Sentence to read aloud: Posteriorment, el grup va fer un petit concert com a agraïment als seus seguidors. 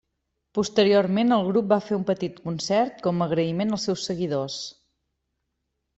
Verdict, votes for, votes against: accepted, 3, 0